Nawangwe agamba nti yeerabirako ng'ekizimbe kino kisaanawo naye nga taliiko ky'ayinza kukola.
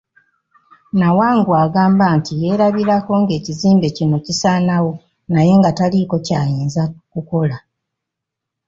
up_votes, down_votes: 2, 0